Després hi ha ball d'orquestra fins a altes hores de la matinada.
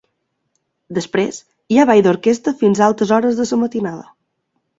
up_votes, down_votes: 0, 2